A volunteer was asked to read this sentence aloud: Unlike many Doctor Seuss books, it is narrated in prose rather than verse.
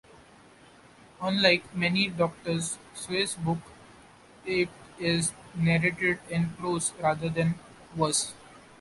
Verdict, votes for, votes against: rejected, 1, 2